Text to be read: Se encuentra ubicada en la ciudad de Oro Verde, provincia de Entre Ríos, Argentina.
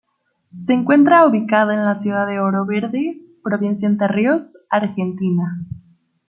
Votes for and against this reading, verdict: 1, 2, rejected